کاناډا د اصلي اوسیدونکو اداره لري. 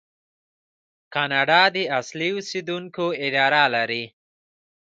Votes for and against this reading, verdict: 1, 2, rejected